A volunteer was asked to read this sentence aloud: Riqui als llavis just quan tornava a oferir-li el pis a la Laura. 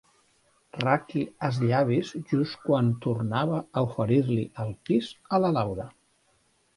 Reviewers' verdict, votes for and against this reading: rejected, 0, 2